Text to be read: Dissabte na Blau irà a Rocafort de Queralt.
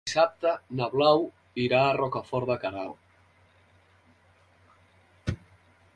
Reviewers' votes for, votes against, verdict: 3, 4, rejected